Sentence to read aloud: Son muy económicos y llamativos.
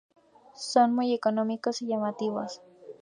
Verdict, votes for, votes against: accepted, 2, 0